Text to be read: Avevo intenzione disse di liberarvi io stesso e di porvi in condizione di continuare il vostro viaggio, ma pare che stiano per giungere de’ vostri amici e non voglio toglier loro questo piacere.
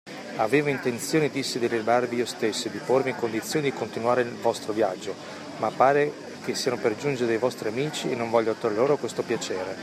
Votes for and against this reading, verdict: 2, 0, accepted